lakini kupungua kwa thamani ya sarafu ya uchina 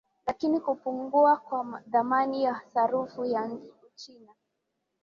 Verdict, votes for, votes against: accepted, 3, 1